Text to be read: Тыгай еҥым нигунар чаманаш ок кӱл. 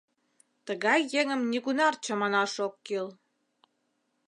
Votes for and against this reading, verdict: 2, 0, accepted